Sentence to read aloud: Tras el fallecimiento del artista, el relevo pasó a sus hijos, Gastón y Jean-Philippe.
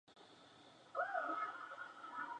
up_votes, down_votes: 0, 2